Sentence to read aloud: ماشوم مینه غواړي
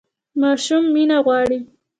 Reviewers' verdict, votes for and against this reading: accepted, 2, 0